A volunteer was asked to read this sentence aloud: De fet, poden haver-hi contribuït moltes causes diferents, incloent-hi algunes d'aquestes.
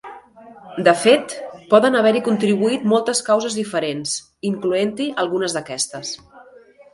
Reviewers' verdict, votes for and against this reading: rejected, 0, 2